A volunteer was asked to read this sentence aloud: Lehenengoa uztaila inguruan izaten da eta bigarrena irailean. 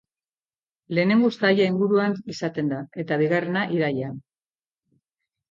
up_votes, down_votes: 0, 2